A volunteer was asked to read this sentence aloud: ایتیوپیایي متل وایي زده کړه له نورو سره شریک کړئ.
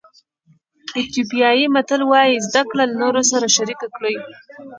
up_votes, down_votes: 2, 0